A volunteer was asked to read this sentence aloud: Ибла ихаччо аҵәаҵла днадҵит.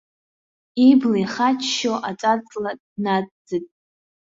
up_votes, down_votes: 1, 2